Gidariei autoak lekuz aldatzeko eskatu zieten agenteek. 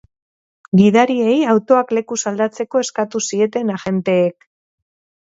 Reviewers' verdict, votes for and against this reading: accepted, 6, 0